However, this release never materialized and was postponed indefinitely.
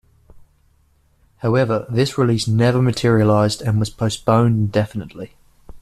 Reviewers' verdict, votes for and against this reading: accepted, 2, 0